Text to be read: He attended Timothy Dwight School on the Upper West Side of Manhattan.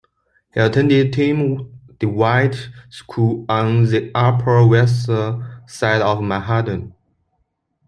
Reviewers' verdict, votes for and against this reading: rejected, 0, 2